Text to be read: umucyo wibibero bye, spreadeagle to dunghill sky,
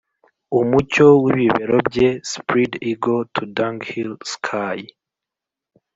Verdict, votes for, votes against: accepted, 2, 0